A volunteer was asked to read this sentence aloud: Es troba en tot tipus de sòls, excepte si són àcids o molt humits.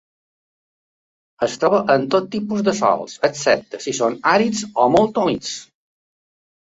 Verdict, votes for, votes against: rejected, 0, 2